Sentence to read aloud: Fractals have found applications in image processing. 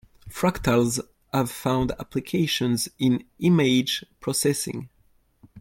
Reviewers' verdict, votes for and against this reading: accepted, 2, 0